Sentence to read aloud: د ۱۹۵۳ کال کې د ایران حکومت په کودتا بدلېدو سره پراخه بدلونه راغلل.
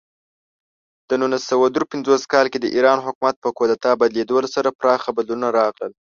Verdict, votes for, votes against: rejected, 0, 2